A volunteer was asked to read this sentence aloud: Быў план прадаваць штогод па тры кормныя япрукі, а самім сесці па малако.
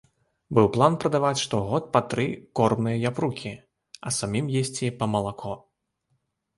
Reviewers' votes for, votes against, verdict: 1, 2, rejected